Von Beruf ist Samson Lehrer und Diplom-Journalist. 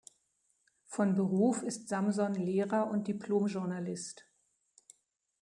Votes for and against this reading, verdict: 2, 0, accepted